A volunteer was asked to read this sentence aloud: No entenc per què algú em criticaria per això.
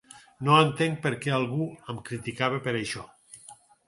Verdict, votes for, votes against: rejected, 0, 4